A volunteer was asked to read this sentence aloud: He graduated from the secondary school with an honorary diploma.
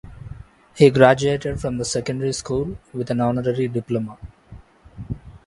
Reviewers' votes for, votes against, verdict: 2, 3, rejected